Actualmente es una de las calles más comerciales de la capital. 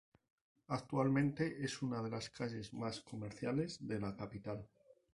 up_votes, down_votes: 2, 0